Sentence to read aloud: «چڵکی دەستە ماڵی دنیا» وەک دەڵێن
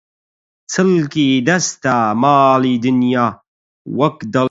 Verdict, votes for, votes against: rejected, 0, 8